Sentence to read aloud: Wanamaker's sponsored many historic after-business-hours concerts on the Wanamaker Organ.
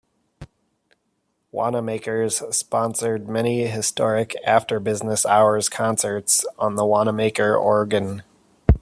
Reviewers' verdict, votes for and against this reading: accepted, 2, 0